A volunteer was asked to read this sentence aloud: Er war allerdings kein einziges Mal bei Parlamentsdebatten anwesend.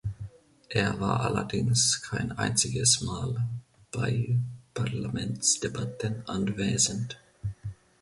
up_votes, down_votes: 2, 0